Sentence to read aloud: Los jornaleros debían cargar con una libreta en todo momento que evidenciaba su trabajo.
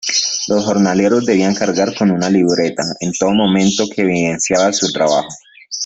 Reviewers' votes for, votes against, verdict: 0, 2, rejected